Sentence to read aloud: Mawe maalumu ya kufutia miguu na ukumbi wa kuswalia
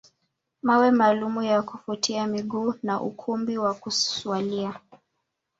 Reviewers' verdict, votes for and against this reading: accepted, 2, 0